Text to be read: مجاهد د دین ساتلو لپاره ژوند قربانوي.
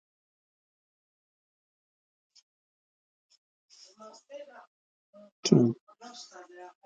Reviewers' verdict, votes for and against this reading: rejected, 0, 3